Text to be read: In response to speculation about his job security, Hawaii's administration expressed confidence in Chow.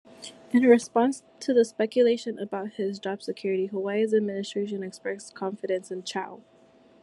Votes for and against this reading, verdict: 0, 2, rejected